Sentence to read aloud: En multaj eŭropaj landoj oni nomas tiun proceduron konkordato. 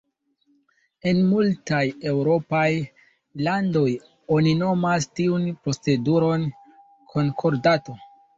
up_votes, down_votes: 1, 2